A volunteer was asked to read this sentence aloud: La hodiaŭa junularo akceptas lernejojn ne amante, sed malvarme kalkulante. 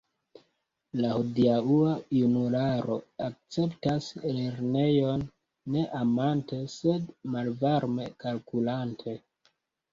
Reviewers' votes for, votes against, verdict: 2, 0, accepted